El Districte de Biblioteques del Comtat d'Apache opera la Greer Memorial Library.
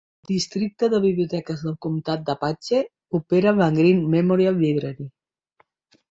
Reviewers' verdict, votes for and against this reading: rejected, 1, 2